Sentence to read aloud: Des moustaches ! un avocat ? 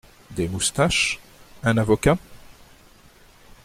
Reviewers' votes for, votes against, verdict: 2, 0, accepted